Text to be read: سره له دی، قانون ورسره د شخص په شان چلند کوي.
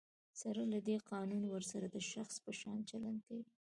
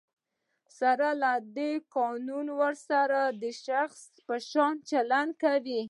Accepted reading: first